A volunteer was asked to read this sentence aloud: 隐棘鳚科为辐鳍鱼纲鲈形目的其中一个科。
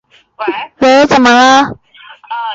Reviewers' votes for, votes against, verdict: 0, 5, rejected